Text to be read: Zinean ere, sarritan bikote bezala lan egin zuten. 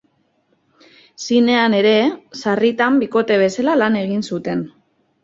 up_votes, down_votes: 3, 0